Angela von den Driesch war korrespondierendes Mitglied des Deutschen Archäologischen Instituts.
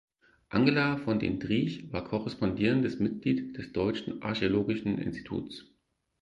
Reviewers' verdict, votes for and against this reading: rejected, 0, 4